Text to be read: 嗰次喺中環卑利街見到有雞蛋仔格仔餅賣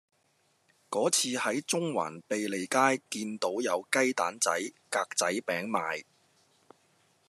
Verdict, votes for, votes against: accepted, 2, 0